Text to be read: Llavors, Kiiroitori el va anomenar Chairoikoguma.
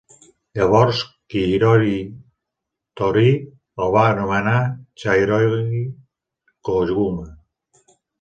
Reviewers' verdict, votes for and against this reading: rejected, 1, 2